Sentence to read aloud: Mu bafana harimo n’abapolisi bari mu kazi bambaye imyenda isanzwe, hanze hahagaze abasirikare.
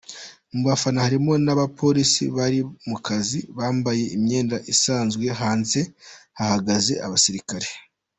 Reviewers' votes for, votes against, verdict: 1, 2, rejected